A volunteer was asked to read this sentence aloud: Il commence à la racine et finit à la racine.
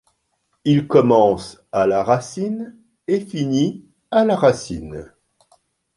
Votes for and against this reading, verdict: 2, 0, accepted